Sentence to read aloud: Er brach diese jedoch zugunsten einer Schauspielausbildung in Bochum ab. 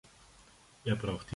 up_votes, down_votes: 0, 2